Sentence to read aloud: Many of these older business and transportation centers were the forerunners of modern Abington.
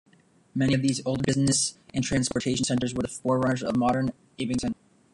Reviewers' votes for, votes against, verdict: 0, 2, rejected